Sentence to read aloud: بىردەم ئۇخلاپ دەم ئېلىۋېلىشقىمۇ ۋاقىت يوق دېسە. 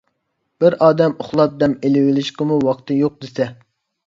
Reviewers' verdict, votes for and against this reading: rejected, 0, 2